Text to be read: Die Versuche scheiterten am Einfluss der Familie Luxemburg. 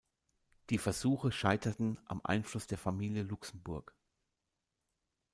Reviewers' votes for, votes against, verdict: 2, 0, accepted